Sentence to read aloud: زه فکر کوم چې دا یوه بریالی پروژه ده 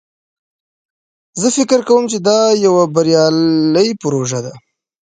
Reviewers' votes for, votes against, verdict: 2, 0, accepted